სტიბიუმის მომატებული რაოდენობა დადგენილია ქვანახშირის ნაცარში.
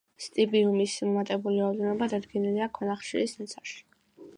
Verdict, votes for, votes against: accepted, 2, 0